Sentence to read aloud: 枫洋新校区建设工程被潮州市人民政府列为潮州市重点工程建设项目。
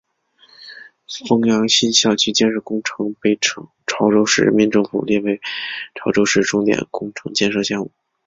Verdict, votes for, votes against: accepted, 2, 0